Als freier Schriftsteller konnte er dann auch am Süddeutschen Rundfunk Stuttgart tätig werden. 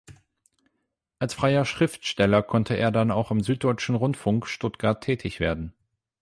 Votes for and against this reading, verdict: 8, 0, accepted